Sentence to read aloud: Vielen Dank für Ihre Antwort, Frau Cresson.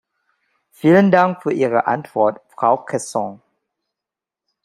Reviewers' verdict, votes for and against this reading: accepted, 2, 0